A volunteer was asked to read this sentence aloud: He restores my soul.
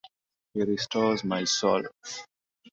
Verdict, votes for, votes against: accepted, 2, 1